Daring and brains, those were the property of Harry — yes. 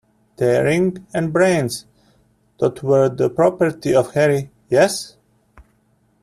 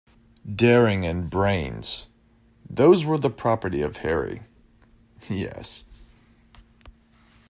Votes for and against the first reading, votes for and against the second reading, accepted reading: 0, 2, 2, 0, second